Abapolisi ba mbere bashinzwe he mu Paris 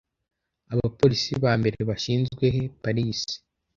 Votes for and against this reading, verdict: 0, 2, rejected